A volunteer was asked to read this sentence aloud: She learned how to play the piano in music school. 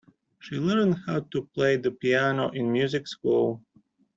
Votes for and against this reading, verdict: 2, 0, accepted